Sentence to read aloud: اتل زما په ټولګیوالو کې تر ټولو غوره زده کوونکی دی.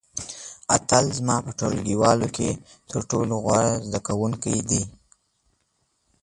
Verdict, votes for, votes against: accepted, 2, 0